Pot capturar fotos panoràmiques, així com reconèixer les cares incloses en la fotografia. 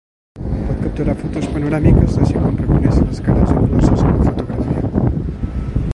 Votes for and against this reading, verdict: 0, 2, rejected